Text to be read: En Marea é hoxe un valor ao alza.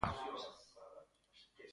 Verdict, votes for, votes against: rejected, 0, 2